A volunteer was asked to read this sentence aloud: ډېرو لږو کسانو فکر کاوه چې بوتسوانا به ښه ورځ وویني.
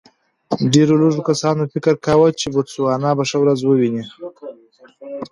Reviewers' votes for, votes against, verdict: 2, 0, accepted